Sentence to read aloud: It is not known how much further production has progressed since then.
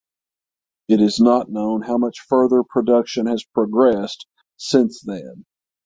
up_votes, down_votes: 3, 3